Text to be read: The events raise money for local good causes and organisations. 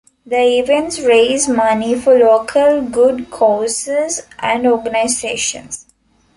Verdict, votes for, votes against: accepted, 2, 0